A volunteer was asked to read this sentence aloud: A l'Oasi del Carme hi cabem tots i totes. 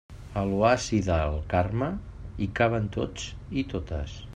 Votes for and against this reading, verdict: 0, 2, rejected